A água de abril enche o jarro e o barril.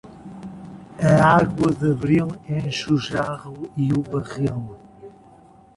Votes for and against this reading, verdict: 2, 0, accepted